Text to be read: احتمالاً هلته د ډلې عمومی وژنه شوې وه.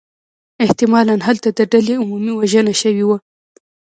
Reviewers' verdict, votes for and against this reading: rejected, 1, 2